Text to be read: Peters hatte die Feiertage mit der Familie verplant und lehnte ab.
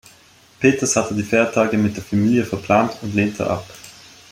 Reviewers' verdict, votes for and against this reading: accepted, 2, 0